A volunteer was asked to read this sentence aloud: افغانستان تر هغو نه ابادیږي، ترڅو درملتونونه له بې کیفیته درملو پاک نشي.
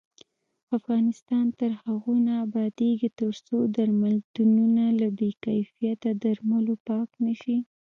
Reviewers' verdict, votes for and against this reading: rejected, 1, 2